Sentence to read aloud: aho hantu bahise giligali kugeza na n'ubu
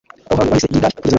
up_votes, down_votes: 0, 2